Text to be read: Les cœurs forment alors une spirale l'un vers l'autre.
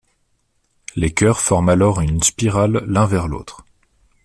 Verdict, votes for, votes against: rejected, 0, 2